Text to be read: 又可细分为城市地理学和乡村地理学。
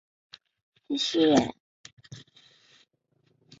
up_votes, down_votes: 0, 2